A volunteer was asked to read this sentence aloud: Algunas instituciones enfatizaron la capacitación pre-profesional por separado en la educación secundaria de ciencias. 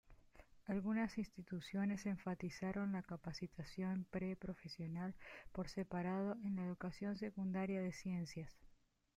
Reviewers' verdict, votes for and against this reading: accepted, 2, 0